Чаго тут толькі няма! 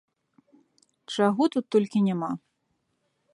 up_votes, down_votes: 2, 1